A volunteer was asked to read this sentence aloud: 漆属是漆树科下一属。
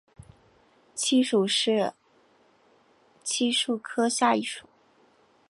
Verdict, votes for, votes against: accepted, 2, 0